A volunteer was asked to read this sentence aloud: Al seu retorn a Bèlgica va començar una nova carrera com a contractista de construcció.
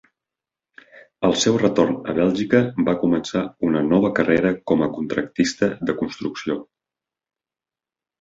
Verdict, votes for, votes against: accepted, 2, 0